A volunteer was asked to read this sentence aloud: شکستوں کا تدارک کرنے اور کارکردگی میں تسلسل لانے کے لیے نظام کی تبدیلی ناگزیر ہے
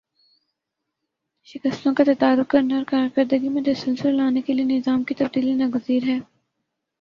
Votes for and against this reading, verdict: 2, 2, rejected